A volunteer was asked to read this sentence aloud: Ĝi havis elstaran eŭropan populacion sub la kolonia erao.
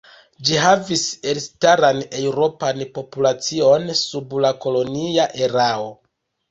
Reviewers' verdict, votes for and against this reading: rejected, 0, 2